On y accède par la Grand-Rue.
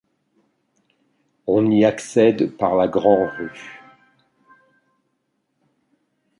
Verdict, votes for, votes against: accepted, 2, 0